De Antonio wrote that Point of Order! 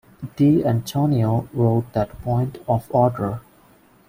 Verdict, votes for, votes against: accepted, 2, 1